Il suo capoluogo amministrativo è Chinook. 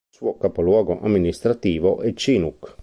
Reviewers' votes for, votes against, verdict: 1, 2, rejected